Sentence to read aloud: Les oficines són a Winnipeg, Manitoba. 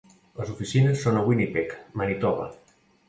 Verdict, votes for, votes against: accepted, 2, 0